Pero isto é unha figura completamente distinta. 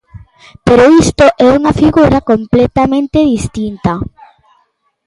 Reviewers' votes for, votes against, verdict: 2, 0, accepted